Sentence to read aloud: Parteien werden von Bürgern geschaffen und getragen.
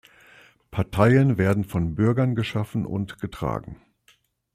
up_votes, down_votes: 2, 0